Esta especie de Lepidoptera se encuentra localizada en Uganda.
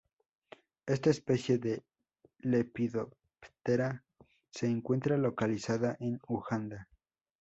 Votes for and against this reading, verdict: 2, 0, accepted